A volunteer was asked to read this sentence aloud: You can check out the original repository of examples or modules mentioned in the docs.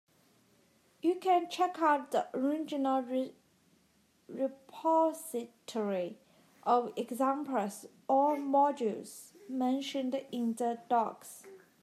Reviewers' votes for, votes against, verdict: 2, 3, rejected